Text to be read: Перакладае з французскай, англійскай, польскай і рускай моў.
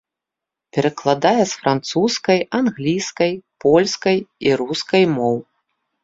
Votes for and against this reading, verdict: 2, 0, accepted